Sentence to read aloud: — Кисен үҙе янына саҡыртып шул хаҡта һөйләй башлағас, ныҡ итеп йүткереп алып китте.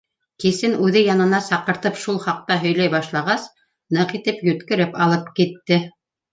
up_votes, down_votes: 2, 0